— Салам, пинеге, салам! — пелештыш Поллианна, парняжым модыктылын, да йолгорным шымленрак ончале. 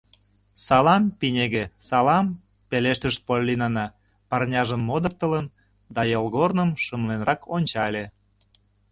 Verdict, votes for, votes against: rejected, 1, 2